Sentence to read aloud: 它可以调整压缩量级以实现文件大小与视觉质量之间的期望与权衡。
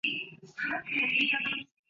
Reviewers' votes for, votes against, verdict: 0, 3, rejected